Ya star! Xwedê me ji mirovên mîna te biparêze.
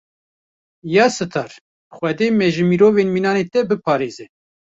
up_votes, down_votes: 0, 2